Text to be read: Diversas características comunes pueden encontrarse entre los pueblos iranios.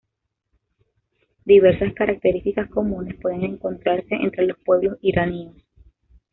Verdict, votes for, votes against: rejected, 0, 2